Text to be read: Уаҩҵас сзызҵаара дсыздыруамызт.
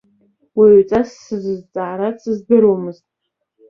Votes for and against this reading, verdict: 2, 0, accepted